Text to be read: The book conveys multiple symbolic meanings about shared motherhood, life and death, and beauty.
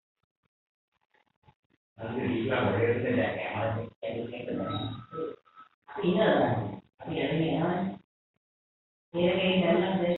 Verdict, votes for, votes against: rejected, 0, 3